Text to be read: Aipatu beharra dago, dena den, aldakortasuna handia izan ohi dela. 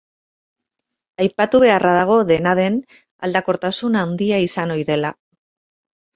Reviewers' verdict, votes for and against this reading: rejected, 0, 2